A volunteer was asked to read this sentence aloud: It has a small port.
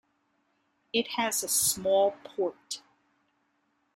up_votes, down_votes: 2, 1